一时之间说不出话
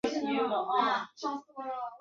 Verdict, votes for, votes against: rejected, 0, 2